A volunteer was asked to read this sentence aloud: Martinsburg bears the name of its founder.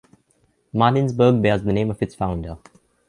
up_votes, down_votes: 2, 0